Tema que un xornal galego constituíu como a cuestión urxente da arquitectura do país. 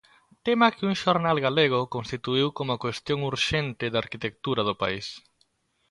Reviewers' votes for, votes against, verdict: 2, 0, accepted